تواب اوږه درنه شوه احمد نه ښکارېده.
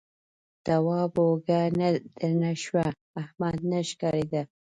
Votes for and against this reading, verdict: 1, 2, rejected